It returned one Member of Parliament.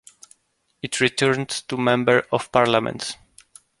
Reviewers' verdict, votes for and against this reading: rejected, 0, 2